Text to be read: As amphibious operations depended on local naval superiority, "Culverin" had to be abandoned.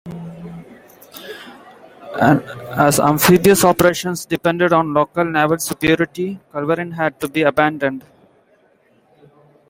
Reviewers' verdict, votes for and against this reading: accepted, 2, 1